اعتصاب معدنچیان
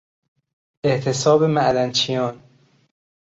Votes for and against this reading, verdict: 2, 0, accepted